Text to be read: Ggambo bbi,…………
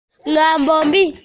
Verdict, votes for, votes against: rejected, 1, 2